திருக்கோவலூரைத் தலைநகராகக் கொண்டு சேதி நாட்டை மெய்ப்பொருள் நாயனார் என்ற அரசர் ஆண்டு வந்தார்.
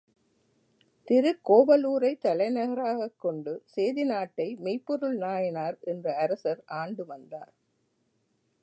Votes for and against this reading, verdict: 1, 2, rejected